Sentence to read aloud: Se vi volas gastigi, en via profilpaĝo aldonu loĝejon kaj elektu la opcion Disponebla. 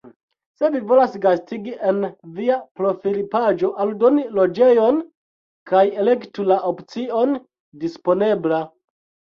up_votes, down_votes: 0, 2